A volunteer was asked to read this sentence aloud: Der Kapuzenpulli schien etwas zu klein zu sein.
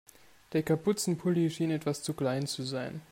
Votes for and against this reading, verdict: 2, 0, accepted